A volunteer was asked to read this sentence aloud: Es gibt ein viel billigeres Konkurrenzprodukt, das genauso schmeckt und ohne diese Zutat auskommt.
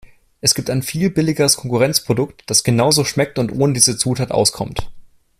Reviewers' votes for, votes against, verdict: 2, 0, accepted